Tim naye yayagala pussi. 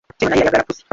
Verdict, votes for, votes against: rejected, 0, 2